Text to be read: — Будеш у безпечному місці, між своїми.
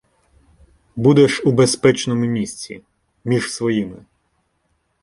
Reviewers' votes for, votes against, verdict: 2, 0, accepted